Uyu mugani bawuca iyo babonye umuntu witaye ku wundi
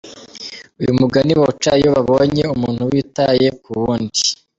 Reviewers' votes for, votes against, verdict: 2, 1, accepted